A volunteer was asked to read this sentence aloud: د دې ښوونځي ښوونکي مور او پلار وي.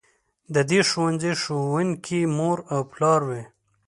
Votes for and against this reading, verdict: 2, 1, accepted